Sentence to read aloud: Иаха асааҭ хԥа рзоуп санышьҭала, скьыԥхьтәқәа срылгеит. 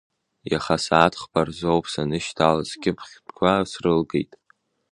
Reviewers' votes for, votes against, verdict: 2, 0, accepted